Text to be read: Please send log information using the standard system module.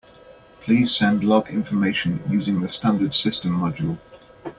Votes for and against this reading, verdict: 2, 0, accepted